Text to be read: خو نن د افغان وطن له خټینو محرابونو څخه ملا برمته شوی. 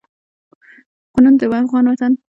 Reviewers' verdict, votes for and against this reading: rejected, 1, 2